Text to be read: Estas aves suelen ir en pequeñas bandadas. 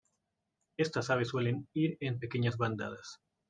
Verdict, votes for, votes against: accepted, 2, 0